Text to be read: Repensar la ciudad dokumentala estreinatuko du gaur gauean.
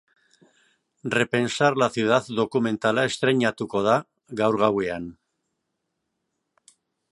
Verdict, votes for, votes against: rejected, 0, 2